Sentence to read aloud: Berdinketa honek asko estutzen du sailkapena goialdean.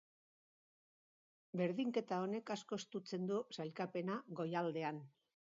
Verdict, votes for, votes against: accepted, 2, 0